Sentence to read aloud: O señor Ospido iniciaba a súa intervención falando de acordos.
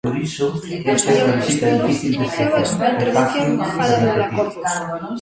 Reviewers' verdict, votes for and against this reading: rejected, 0, 2